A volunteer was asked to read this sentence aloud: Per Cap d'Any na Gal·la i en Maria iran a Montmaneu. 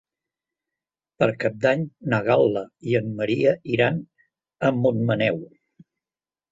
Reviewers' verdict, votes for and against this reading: accepted, 2, 0